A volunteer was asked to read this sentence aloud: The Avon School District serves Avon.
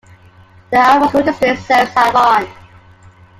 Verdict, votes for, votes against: rejected, 1, 2